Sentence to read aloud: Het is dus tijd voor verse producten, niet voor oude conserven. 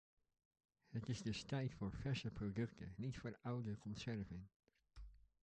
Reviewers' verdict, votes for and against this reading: accepted, 2, 0